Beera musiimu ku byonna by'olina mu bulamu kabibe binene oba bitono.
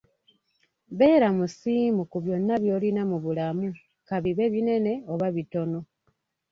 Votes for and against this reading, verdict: 2, 0, accepted